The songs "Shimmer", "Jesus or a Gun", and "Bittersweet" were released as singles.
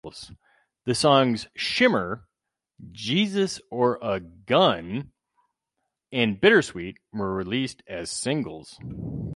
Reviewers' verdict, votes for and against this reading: rejected, 2, 2